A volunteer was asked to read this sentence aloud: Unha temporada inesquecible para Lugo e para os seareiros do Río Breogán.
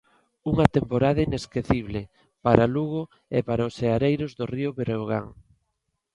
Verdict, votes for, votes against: accepted, 2, 0